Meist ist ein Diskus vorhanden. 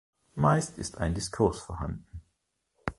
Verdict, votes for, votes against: rejected, 0, 2